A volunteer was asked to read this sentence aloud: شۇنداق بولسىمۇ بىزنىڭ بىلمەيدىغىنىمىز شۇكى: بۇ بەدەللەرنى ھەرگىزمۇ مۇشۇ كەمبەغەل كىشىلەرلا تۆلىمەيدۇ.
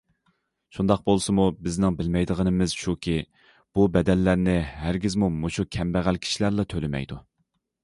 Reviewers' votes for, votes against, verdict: 2, 0, accepted